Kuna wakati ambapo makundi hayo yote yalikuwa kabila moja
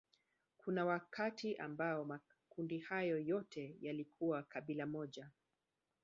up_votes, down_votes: 1, 2